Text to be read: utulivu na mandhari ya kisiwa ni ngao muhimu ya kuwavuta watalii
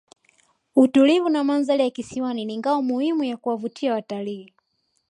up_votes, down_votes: 2, 0